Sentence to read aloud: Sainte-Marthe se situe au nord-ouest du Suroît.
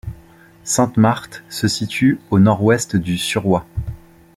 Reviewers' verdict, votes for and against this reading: accepted, 2, 0